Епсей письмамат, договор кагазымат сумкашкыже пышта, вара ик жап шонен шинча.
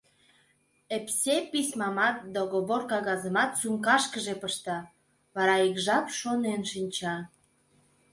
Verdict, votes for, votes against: accepted, 2, 0